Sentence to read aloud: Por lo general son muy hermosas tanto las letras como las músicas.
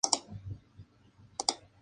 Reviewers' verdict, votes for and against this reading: rejected, 0, 2